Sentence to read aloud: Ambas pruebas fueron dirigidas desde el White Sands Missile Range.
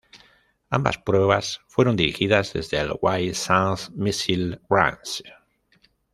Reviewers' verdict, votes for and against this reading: rejected, 0, 2